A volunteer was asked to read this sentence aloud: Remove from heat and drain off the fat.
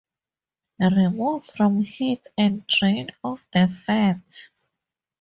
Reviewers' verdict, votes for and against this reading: accepted, 2, 0